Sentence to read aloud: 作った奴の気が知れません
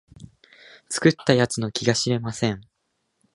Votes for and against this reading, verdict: 2, 0, accepted